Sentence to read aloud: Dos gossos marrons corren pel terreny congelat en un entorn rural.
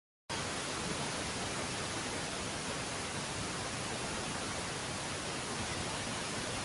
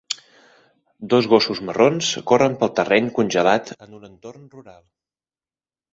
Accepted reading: second